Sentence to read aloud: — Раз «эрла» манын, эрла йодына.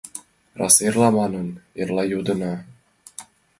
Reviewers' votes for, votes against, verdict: 4, 1, accepted